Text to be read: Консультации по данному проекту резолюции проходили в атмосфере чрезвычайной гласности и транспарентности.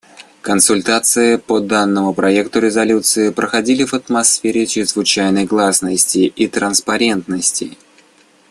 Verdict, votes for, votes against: accepted, 2, 0